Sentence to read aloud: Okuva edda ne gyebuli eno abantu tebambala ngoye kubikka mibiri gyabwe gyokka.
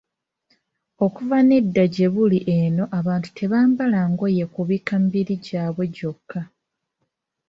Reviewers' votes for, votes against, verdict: 2, 1, accepted